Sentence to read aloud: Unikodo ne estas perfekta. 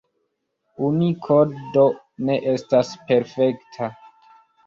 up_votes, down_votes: 2, 3